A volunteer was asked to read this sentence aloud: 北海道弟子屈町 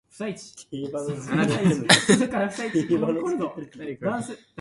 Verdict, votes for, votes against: rejected, 0, 2